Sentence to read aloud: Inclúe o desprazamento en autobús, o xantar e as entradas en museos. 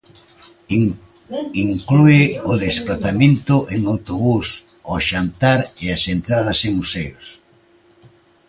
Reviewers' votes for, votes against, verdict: 2, 1, accepted